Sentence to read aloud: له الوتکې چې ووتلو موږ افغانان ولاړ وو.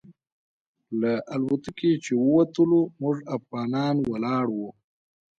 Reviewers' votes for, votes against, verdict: 3, 1, accepted